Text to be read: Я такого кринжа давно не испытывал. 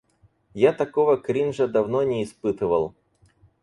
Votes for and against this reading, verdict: 4, 0, accepted